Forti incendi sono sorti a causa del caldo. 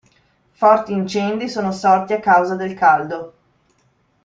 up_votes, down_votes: 2, 0